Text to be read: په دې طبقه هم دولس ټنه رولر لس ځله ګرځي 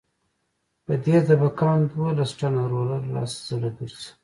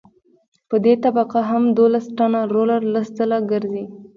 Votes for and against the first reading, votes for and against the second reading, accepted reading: 2, 0, 1, 2, first